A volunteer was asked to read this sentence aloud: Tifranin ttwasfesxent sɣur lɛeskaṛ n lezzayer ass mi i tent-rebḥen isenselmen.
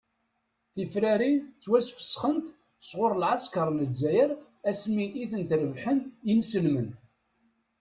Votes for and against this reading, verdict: 0, 2, rejected